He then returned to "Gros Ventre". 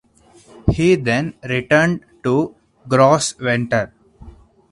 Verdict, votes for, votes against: rejected, 2, 2